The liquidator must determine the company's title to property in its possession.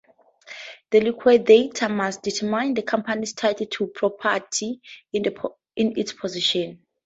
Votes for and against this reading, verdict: 2, 4, rejected